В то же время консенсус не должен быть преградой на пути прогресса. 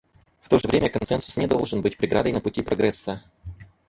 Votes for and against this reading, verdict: 2, 2, rejected